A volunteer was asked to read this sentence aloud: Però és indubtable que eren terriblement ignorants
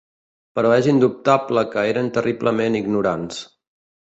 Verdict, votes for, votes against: accepted, 3, 0